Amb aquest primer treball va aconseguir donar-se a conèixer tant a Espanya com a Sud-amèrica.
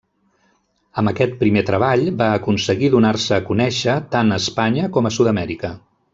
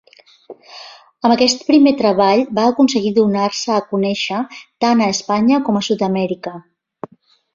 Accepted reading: second